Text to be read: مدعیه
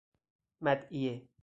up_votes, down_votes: 4, 2